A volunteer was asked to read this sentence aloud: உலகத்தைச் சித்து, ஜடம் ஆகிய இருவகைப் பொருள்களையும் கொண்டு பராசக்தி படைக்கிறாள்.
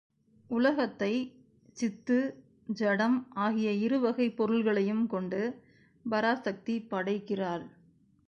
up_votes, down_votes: 1, 2